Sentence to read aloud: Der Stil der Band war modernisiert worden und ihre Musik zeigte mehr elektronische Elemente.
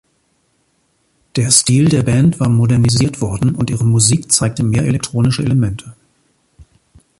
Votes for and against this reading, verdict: 3, 1, accepted